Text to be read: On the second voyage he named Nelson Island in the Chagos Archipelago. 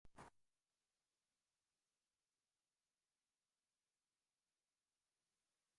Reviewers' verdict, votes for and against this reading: rejected, 0, 2